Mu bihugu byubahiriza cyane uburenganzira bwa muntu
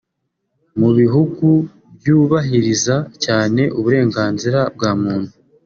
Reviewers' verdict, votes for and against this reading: accepted, 2, 0